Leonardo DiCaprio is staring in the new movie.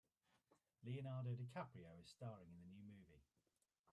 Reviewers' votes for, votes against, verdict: 0, 2, rejected